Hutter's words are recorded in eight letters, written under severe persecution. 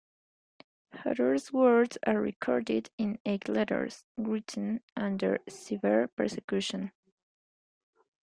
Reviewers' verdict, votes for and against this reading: accepted, 2, 0